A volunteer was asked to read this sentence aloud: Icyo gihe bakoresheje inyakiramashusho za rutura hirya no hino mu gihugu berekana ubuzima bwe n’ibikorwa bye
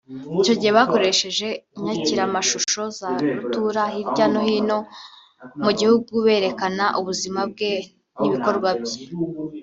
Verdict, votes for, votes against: accepted, 2, 1